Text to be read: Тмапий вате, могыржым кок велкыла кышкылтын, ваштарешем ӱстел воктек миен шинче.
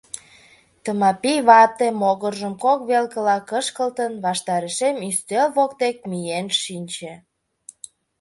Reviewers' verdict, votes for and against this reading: accepted, 3, 0